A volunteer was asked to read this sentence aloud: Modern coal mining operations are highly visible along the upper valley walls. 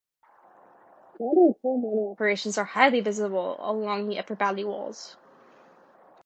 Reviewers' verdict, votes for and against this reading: accepted, 2, 0